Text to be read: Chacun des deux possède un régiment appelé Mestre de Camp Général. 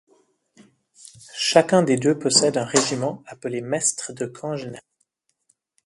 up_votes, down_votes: 0, 2